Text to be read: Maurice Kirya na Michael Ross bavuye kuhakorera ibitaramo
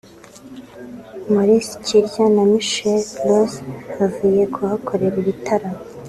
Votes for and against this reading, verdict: 2, 0, accepted